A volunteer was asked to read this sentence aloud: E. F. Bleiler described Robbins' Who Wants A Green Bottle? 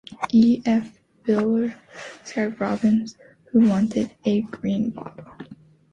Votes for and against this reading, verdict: 0, 2, rejected